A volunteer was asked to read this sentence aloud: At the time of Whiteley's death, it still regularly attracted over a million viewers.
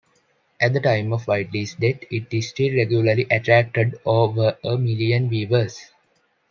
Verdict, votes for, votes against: rejected, 1, 2